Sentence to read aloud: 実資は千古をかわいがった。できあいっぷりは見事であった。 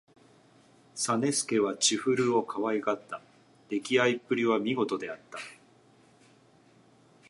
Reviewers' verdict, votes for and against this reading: accepted, 2, 0